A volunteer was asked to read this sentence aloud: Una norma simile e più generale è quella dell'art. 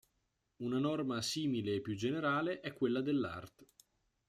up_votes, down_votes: 2, 0